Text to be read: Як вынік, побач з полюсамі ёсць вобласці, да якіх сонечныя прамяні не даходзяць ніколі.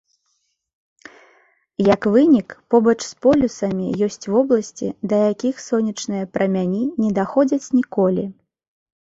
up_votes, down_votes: 2, 0